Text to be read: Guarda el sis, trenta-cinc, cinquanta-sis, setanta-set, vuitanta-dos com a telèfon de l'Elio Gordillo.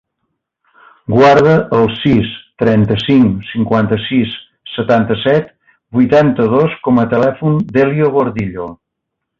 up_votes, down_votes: 1, 2